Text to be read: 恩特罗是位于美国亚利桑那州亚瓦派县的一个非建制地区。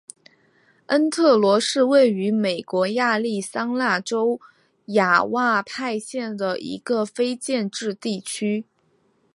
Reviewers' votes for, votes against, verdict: 1, 2, rejected